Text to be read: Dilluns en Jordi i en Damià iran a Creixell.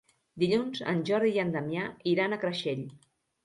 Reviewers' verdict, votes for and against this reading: accepted, 3, 0